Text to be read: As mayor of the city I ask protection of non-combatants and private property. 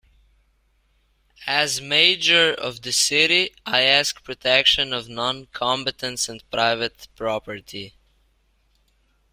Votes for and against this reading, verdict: 0, 2, rejected